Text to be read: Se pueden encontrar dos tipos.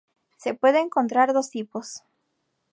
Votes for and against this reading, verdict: 2, 2, rejected